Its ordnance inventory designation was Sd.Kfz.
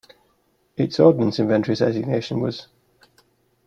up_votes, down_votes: 0, 2